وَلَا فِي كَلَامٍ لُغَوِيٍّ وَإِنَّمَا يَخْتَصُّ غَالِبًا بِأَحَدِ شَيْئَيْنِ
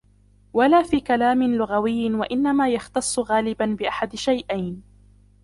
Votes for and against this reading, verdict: 0, 2, rejected